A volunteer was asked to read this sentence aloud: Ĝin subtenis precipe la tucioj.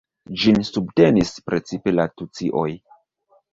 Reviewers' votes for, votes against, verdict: 1, 2, rejected